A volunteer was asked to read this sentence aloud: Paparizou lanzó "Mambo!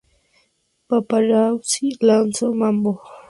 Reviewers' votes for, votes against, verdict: 0, 6, rejected